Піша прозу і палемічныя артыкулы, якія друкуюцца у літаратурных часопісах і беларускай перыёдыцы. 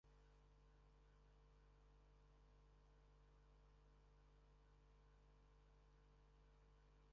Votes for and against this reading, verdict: 0, 2, rejected